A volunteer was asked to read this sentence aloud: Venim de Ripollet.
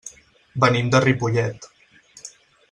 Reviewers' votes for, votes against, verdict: 6, 0, accepted